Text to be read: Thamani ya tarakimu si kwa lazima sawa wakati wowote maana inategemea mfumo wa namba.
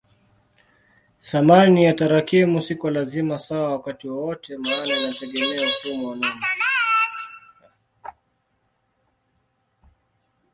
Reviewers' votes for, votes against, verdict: 1, 2, rejected